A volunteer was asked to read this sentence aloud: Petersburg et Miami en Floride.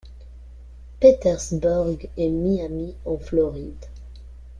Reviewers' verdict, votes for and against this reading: accepted, 2, 0